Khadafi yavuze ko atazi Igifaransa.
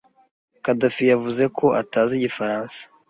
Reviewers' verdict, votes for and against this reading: accepted, 2, 0